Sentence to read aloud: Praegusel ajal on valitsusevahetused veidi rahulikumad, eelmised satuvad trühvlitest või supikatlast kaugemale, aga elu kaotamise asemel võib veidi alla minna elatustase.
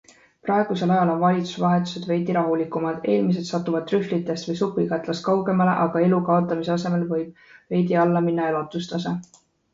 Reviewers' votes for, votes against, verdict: 2, 1, accepted